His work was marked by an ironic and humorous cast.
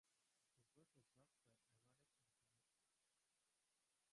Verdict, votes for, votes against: rejected, 1, 2